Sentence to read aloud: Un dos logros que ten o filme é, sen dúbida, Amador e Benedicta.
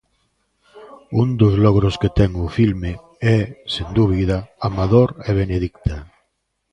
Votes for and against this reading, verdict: 1, 2, rejected